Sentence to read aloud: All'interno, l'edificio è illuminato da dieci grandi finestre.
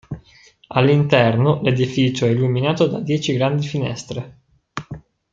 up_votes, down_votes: 2, 0